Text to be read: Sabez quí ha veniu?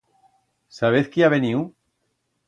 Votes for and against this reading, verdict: 2, 0, accepted